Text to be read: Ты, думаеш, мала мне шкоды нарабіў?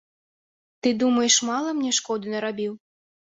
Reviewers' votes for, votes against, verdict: 2, 0, accepted